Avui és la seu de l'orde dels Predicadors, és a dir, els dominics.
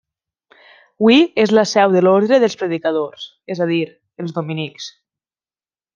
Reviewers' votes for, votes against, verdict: 1, 2, rejected